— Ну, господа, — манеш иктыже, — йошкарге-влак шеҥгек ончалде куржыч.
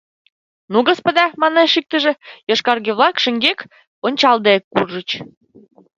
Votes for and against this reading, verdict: 1, 2, rejected